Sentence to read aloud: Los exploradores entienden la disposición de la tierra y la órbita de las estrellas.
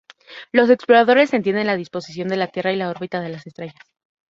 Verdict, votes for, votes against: accepted, 2, 0